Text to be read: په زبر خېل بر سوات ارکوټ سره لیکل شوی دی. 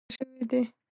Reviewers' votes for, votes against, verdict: 0, 2, rejected